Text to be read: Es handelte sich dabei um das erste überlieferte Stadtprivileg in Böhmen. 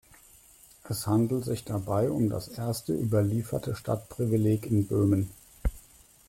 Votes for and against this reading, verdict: 1, 2, rejected